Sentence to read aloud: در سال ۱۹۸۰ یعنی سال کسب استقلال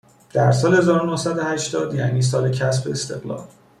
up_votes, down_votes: 0, 2